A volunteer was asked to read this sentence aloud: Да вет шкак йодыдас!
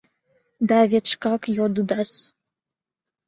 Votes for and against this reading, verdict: 2, 0, accepted